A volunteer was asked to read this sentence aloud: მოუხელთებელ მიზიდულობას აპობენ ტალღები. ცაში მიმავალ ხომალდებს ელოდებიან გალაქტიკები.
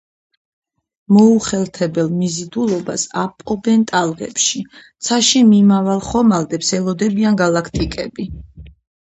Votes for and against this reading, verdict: 2, 4, rejected